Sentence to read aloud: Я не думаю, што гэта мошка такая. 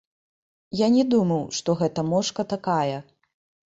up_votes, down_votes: 0, 2